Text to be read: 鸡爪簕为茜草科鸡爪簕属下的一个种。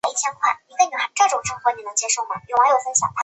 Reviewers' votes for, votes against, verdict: 3, 1, accepted